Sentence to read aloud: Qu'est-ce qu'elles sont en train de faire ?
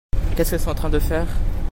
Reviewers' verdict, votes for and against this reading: accepted, 2, 0